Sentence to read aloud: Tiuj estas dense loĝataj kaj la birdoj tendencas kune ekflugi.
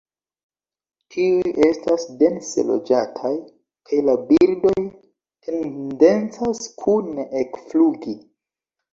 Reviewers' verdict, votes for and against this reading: accepted, 2, 0